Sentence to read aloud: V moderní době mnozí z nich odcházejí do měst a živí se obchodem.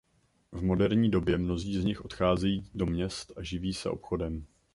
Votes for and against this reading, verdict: 2, 0, accepted